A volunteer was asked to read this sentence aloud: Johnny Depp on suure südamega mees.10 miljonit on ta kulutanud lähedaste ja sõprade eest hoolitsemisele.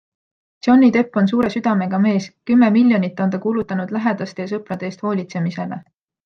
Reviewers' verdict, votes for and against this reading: rejected, 0, 2